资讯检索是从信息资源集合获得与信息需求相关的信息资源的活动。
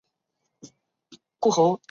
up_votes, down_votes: 0, 5